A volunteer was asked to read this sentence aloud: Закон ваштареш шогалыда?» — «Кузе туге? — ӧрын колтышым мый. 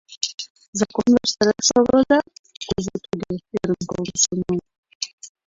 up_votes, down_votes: 1, 2